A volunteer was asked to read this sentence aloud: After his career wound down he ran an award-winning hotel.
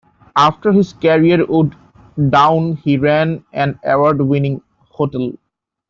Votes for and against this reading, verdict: 1, 2, rejected